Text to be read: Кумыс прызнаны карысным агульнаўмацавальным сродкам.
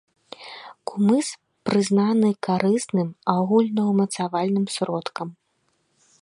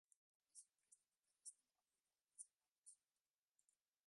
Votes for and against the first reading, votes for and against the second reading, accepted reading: 2, 0, 1, 3, first